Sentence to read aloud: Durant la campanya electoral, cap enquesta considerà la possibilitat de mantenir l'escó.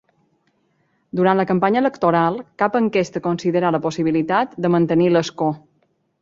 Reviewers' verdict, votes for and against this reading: accepted, 2, 0